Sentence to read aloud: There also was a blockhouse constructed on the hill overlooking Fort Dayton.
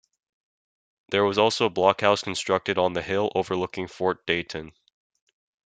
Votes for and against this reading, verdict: 1, 2, rejected